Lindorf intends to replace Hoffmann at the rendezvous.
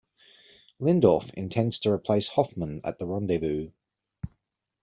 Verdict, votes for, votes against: accepted, 2, 1